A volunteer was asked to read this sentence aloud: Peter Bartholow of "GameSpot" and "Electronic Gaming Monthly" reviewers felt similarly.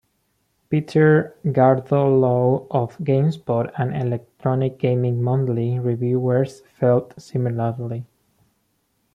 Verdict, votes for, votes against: rejected, 0, 2